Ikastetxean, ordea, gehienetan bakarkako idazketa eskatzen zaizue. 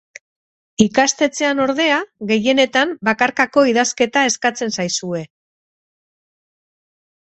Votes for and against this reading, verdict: 4, 0, accepted